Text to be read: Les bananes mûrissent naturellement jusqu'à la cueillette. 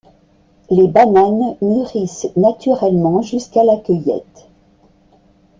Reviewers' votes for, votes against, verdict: 1, 2, rejected